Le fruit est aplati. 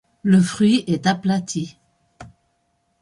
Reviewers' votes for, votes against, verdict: 2, 0, accepted